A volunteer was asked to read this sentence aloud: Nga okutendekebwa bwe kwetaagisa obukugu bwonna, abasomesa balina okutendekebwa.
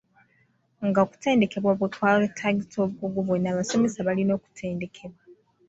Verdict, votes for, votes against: rejected, 0, 2